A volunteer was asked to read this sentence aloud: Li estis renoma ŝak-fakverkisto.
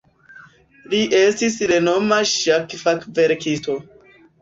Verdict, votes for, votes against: accepted, 2, 1